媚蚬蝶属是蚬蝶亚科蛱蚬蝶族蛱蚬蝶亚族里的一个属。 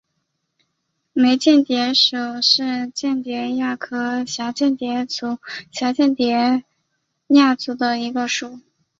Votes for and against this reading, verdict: 2, 3, rejected